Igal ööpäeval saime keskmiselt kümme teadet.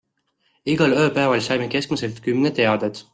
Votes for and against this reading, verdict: 2, 0, accepted